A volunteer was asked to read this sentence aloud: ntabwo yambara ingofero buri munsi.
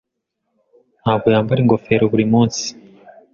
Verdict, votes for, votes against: accepted, 2, 0